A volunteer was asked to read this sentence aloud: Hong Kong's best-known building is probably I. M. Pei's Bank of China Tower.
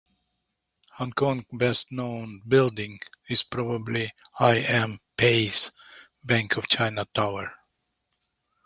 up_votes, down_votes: 3, 0